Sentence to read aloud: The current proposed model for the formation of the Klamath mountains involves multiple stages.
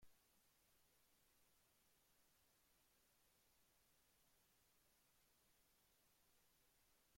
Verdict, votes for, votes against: rejected, 0, 2